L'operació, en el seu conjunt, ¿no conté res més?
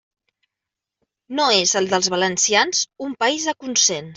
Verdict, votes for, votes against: rejected, 0, 2